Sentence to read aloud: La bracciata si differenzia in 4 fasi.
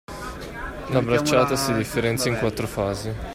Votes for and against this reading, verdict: 0, 2, rejected